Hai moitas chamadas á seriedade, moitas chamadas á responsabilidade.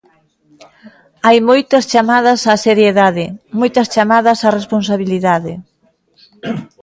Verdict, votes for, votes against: accepted, 2, 0